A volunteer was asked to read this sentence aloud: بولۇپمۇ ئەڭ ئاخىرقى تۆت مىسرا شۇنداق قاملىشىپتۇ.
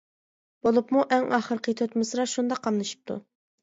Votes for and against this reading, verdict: 2, 0, accepted